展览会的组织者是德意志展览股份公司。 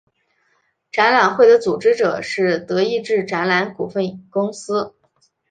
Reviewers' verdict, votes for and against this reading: accepted, 2, 1